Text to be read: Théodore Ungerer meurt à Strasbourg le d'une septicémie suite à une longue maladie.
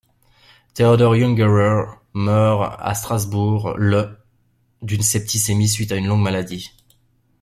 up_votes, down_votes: 2, 0